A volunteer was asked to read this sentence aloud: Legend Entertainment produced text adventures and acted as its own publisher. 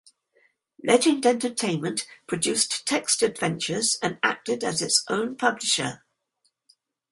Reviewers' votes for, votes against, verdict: 4, 0, accepted